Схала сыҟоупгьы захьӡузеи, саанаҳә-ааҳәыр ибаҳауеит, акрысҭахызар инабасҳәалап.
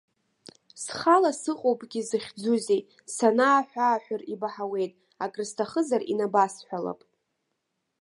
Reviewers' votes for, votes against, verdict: 1, 2, rejected